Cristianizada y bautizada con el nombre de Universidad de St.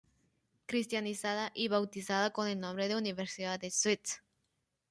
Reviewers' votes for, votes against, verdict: 0, 2, rejected